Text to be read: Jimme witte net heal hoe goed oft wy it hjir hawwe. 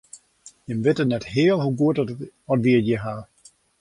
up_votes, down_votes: 2, 1